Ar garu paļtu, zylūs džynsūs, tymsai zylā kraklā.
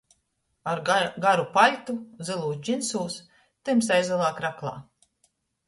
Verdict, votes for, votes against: accepted, 2, 1